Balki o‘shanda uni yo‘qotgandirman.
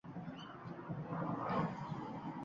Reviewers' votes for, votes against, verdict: 0, 2, rejected